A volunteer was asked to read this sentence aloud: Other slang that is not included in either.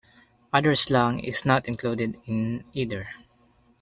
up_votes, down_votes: 0, 2